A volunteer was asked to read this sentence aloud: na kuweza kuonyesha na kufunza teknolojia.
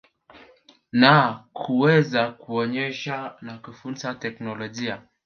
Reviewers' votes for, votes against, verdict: 3, 0, accepted